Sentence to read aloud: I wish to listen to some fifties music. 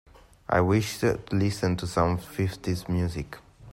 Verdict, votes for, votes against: accepted, 2, 1